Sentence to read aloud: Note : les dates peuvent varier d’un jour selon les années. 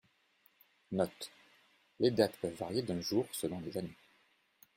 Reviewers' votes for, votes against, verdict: 1, 2, rejected